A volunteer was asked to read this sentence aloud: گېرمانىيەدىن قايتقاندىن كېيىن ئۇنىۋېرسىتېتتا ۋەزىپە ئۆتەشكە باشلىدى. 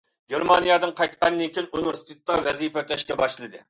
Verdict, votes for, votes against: accepted, 2, 1